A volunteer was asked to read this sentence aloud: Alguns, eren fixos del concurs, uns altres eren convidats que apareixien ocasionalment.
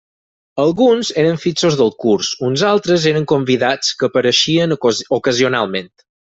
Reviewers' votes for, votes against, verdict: 2, 4, rejected